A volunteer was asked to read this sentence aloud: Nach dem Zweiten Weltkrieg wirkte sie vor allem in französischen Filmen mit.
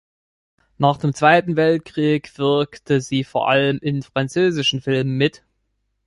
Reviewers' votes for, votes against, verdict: 2, 0, accepted